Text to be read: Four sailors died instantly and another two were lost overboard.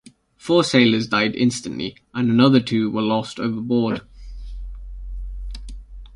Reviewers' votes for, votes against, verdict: 2, 0, accepted